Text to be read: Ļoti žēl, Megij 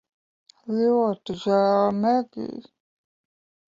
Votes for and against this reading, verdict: 0, 2, rejected